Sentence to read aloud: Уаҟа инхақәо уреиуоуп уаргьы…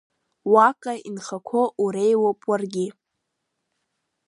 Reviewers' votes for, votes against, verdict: 3, 0, accepted